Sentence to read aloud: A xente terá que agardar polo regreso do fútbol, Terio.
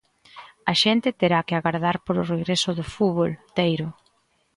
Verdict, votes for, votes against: rejected, 1, 2